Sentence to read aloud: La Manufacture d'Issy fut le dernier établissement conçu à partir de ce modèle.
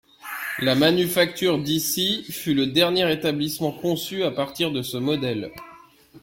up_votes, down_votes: 2, 1